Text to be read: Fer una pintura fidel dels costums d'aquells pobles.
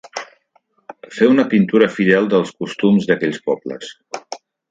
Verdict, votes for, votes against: accepted, 3, 0